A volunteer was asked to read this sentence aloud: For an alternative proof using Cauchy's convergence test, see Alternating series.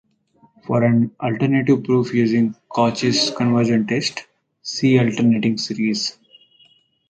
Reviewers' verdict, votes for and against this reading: rejected, 2, 4